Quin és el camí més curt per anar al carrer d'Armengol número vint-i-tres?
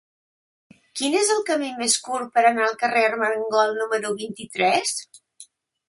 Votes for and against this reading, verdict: 0, 2, rejected